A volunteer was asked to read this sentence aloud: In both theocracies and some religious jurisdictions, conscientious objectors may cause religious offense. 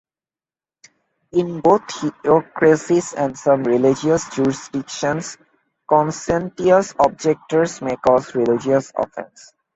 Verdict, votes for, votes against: rejected, 1, 2